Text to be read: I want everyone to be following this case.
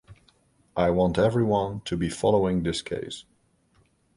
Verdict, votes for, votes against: accepted, 2, 0